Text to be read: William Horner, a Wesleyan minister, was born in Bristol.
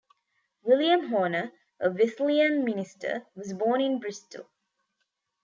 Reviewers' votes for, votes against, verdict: 2, 1, accepted